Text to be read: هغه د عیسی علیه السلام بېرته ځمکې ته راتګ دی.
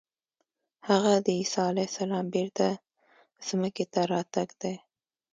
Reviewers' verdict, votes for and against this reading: accepted, 2, 0